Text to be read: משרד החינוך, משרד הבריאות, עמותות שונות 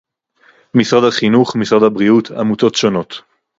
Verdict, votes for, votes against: accepted, 2, 0